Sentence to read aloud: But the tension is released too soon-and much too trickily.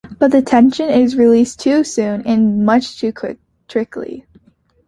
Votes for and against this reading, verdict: 0, 2, rejected